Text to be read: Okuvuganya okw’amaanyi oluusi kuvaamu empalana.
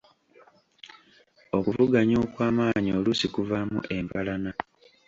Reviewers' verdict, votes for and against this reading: accepted, 2, 0